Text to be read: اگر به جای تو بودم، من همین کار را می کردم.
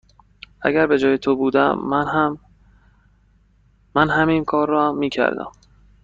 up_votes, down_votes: 1, 2